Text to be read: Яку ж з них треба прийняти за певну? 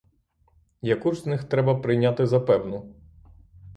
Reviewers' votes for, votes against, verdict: 6, 0, accepted